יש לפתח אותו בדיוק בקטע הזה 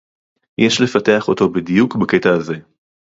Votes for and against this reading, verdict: 2, 0, accepted